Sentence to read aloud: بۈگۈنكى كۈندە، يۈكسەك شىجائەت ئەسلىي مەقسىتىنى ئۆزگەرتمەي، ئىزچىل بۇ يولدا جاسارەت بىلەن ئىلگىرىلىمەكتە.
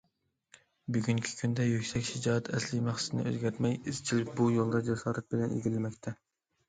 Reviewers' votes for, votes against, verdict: 2, 0, accepted